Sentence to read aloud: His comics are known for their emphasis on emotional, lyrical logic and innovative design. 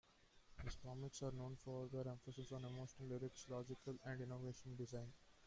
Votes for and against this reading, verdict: 0, 2, rejected